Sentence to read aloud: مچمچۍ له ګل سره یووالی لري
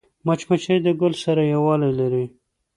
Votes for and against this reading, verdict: 2, 0, accepted